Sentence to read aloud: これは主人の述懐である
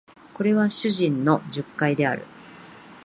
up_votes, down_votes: 2, 0